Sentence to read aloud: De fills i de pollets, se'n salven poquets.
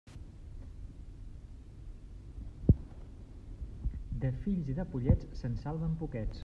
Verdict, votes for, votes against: accepted, 2, 1